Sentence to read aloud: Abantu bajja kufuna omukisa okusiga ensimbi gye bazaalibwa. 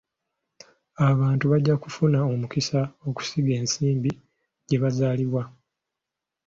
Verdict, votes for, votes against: accepted, 2, 0